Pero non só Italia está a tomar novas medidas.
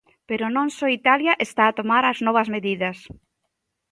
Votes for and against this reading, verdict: 0, 2, rejected